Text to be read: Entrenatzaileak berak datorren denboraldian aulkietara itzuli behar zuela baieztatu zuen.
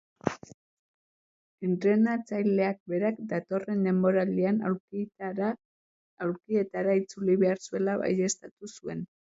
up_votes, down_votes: 0, 2